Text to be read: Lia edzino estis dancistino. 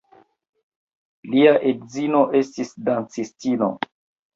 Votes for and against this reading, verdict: 0, 2, rejected